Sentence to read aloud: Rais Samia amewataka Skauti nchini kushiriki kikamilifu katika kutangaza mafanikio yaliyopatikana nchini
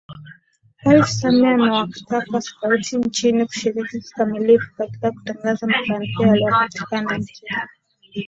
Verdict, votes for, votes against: accepted, 2, 1